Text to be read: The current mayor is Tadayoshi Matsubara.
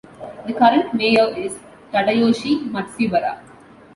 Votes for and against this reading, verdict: 2, 0, accepted